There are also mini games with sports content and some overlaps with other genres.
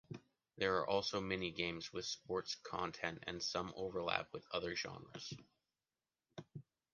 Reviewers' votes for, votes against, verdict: 2, 1, accepted